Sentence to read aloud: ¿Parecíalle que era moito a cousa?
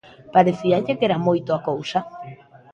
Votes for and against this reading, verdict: 2, 0, accepted